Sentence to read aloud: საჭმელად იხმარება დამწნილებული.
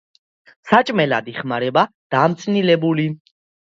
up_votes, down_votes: 2, 0